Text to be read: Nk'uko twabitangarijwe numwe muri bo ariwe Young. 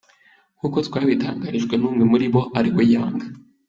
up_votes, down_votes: 2, 0